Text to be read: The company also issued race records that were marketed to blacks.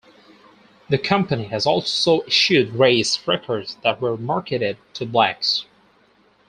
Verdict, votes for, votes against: rejected, 0, 4